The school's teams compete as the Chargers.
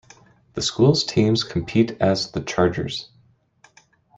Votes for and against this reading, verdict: 2, 0, accepted